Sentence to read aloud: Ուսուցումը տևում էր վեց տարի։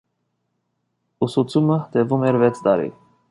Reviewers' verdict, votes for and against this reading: accepted, 2, 1